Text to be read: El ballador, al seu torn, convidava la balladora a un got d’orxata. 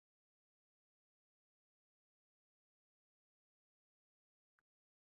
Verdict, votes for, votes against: rejected, 0, 2